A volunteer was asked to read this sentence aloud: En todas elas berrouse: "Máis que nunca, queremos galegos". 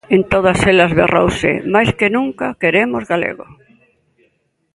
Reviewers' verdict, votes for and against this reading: rejected, 1, 2